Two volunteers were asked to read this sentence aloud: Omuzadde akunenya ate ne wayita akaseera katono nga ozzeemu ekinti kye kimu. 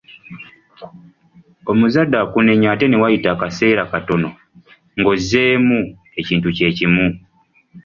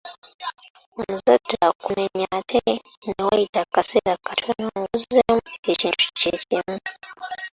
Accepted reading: first